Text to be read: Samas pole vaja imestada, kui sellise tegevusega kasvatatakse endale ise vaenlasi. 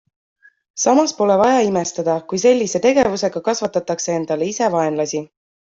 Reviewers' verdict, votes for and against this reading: accepted, 2, 0